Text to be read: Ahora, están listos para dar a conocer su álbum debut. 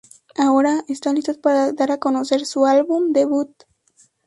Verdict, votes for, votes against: rejected, 0, 2